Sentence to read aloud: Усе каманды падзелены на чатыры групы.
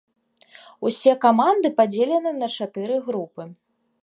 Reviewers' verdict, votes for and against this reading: accepted, 2, 0